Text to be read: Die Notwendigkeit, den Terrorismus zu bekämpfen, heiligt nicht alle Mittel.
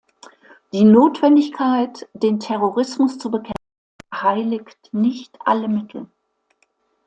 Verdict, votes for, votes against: rejected, 1, 2